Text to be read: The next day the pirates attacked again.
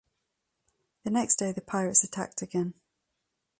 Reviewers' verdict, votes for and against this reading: accepted, 2, 0